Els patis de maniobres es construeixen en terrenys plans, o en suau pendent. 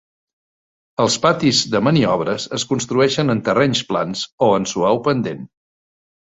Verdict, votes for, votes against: accepted, 3, 0